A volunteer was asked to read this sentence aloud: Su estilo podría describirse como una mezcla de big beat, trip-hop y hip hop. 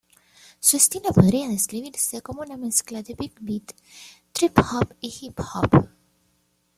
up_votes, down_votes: 2, 0